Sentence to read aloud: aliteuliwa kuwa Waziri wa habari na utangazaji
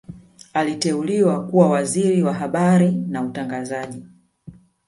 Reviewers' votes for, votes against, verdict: 2, 1, accepted